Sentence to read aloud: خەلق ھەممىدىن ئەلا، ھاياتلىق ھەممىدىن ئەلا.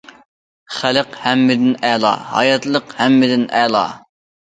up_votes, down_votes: 2, 0